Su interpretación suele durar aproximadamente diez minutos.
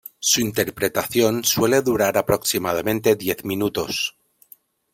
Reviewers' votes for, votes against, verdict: 2, 0, accepted